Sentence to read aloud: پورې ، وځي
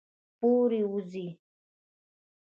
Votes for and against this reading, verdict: 2, 0, accepted